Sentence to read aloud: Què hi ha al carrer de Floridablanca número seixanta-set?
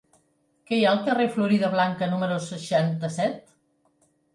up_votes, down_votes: 1, 2